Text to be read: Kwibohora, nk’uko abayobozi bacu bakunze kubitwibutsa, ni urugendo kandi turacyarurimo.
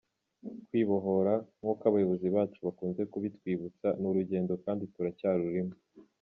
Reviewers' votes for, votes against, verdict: 2, 0, accepted